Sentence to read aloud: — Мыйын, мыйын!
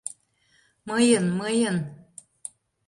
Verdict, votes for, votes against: accepted, 2, 0